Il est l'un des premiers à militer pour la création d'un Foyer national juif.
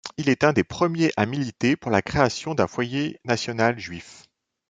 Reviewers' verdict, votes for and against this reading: rejected, 1, 2